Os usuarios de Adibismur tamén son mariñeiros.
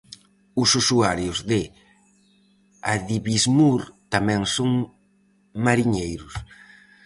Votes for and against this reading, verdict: 4, 0, accepted